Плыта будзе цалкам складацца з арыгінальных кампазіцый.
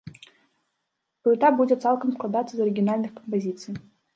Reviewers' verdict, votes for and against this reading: rejected, 0, 3